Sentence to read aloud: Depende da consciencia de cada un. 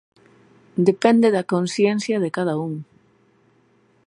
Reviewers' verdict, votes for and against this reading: accepted, 2, 0